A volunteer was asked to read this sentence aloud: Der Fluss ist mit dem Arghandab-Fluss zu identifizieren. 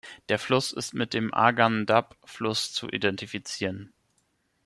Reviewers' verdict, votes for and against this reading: rejected, 1, 2